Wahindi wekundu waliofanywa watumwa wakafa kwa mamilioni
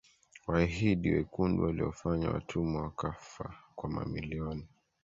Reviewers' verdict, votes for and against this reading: rejected, 1, 2